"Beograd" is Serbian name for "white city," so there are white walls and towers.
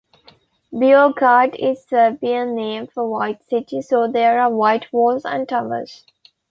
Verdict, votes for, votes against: accepted, 2, 1